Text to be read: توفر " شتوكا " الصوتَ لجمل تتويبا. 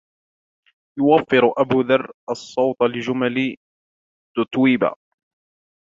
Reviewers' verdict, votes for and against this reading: rejected, 0, 2